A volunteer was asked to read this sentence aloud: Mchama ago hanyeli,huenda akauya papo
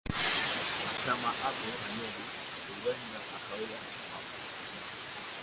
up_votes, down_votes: 0, 2